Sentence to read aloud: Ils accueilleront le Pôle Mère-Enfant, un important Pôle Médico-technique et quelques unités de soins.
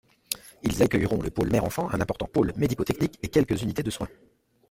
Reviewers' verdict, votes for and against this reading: accepted, 2, 0